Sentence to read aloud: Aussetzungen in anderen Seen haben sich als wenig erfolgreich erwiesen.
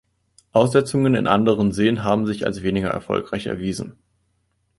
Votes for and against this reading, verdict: 1, 2, rejected